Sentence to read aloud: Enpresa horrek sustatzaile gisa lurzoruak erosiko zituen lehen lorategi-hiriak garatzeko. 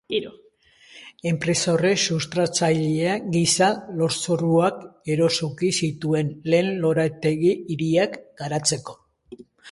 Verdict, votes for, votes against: rejected, 0, 2